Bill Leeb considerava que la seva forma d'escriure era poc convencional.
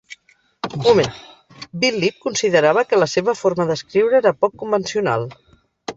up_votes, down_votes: 0, 4